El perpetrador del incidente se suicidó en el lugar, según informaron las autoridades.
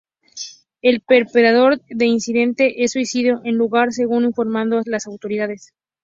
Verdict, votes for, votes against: rejected, 0, 2